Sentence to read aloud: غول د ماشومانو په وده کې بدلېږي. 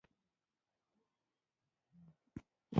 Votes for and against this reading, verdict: 1, 2, rejected